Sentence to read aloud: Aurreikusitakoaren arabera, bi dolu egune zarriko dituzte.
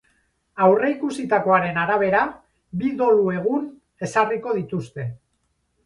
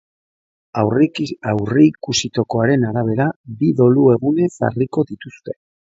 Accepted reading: first